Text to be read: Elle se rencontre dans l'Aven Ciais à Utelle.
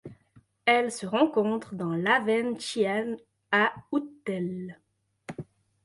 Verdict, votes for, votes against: rejected, 0, 2